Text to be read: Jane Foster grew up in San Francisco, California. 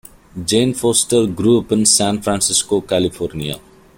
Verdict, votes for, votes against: rejected, 1, 2